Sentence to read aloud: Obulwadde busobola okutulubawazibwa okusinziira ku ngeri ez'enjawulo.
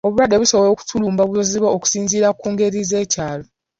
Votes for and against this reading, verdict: 0, 2, rejected